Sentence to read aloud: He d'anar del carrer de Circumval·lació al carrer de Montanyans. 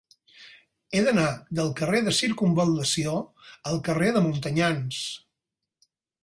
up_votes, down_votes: 6, 0